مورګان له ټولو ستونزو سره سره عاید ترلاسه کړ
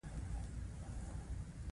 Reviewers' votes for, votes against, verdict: 2, 1, accepted